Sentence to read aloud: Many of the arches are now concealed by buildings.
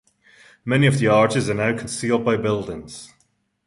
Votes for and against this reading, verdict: 2, 0, accepted